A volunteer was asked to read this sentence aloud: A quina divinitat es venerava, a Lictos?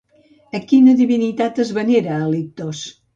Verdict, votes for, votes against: rejected, 0, 2